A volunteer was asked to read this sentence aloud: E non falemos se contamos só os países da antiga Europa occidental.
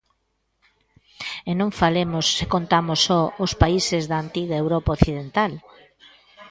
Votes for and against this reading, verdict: 2, 0, accepted